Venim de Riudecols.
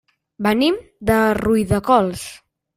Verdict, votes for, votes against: rejected, 0, 2